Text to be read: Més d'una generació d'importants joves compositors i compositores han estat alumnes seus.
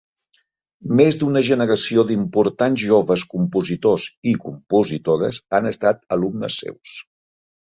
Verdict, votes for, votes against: accepted, 3, 0